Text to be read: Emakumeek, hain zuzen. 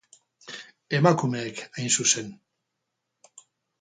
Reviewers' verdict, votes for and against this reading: rejected, 0, 2